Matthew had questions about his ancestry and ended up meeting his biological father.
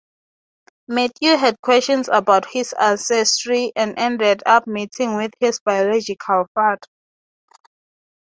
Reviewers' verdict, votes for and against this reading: accepted, 3, 0